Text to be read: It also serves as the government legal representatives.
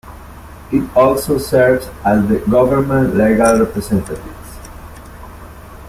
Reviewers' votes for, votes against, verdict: 2, 1, accepted